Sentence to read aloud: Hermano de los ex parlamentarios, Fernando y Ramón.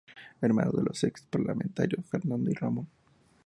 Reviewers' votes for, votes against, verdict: 4, 2, accepted